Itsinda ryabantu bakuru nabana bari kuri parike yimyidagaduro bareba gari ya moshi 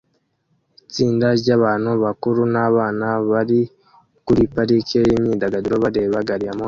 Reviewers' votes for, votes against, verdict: 1, 2, rejected